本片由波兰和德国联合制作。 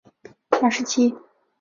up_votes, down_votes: 0, 2